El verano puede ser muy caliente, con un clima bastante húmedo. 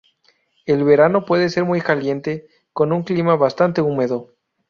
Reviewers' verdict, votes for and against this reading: accepted, 2, 0